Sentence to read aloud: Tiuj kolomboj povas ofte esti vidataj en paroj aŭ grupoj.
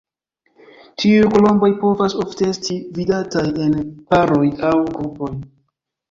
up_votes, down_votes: 2, 0